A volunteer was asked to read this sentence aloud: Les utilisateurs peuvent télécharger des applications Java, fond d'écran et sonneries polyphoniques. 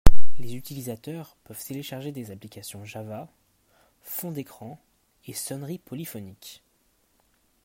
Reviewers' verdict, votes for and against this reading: accepted, 2, 0